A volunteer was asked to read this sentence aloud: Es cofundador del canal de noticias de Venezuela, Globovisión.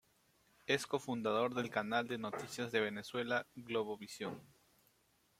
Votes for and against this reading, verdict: 2, 0, accepted